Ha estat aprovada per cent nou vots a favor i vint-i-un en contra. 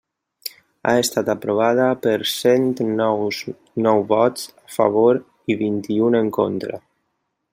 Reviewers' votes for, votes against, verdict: 0, 2, rejected